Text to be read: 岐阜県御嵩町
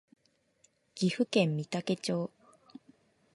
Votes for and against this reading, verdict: 2, 0, accepted